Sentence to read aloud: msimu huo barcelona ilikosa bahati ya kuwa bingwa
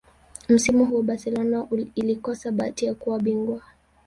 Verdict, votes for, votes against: rejected, 1, 2